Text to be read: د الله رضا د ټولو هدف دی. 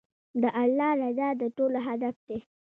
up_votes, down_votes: 2, 0